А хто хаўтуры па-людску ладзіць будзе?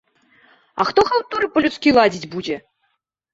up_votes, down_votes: 1, 2